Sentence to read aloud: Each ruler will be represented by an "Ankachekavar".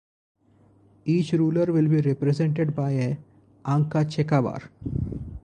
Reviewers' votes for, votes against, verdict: 2, 2, rejected